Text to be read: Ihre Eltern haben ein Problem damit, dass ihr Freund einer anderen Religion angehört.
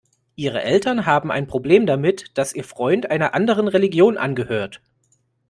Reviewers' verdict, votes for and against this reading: accepted, 2, 0